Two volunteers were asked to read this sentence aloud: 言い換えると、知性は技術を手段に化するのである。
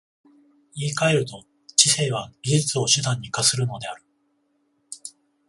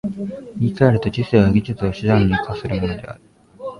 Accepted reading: first